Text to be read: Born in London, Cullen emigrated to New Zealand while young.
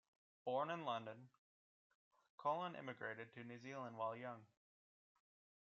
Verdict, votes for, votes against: accepted, 2, 0